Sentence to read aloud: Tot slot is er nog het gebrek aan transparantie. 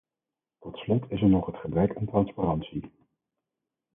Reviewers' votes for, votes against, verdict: 4, 0, accepted